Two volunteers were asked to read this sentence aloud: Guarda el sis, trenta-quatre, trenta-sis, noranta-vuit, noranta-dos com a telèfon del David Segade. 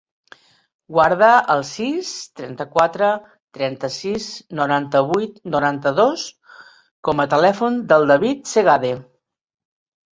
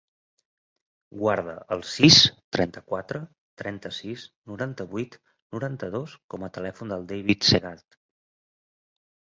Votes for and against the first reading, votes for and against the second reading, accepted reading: 3, 0, 0, 2, first